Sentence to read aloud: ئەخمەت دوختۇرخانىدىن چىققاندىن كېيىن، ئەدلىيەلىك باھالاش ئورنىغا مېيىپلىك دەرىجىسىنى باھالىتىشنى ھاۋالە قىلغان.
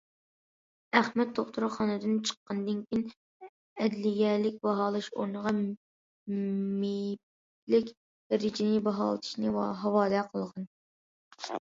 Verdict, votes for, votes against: rejected, 0, 2